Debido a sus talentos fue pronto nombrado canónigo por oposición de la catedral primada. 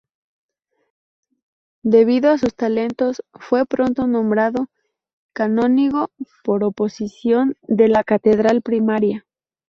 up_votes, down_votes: 0, 2